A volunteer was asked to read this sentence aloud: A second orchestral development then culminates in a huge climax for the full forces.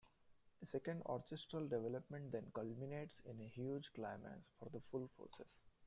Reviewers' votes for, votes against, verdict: 1, 2, rejected